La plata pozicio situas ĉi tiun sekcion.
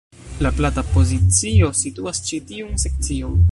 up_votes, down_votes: 1, 2